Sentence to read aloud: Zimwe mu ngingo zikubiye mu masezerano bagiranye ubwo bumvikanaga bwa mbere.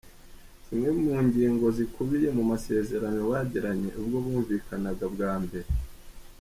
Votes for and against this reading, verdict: 2, 0, accepted